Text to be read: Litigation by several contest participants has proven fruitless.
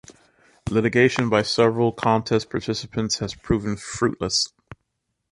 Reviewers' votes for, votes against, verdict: 2, 0, accepted